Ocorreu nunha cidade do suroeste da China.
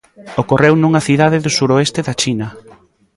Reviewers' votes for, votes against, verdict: 1, 2, rejected